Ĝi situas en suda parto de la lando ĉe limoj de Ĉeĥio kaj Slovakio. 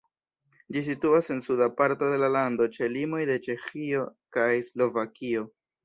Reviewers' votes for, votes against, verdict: 0, 2, rejected